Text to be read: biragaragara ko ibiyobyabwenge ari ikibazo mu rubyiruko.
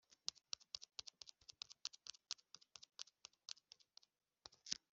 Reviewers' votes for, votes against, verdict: 0, 2, rejected